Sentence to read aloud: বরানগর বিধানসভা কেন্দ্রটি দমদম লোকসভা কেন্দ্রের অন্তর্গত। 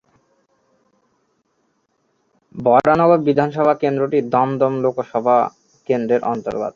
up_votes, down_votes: 1, 2